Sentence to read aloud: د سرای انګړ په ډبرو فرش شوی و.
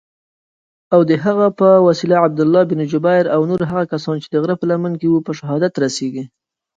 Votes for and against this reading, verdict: 1, 2, rejected